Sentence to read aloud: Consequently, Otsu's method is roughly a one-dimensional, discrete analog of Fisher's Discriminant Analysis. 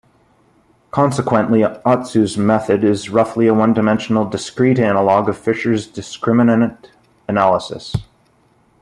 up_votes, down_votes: 1, 2